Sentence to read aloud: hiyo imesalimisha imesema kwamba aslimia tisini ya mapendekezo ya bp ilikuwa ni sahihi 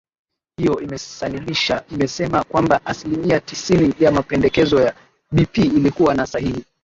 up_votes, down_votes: 0, 2